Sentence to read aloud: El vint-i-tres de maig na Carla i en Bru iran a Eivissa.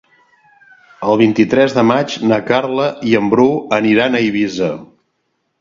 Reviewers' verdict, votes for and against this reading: rejected, 0, 2